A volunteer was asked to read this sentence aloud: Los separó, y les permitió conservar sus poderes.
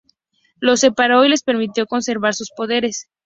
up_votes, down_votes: 0, 2